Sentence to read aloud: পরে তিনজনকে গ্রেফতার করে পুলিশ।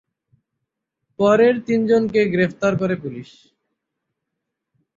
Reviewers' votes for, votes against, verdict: 3, 3, rejected